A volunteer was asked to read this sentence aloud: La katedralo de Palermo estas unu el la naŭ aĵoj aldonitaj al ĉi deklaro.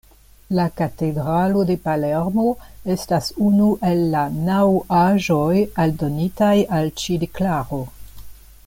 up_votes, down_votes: 2, 0